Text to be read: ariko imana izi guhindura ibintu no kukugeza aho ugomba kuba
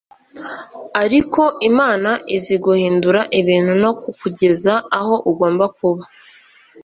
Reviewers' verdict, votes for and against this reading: accepted, 2, 0